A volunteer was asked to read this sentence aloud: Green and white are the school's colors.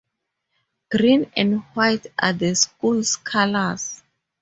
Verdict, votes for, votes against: rejected, 2, 2